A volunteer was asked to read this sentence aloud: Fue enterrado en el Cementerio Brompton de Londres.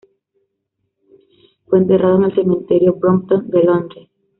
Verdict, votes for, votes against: accepted, 2, 1